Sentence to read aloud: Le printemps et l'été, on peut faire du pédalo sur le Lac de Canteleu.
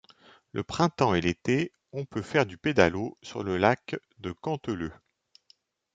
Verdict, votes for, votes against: accepted, 2, 0